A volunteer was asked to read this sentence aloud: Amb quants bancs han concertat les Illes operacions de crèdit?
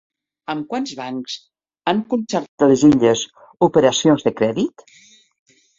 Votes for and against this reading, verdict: 1, 2, rejected